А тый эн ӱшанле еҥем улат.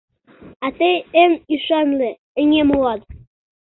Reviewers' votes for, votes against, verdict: 0, 2, rejected